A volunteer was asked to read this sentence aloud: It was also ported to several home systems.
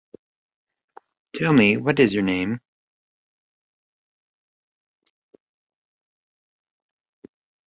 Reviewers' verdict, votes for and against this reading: rejected, 0, 2